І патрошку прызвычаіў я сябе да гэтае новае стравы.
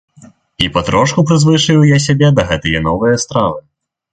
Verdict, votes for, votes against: rejected, 0, 2